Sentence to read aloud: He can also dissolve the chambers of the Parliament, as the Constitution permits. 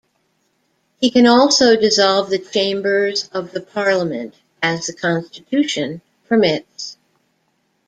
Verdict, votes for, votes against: accepted, 2, 0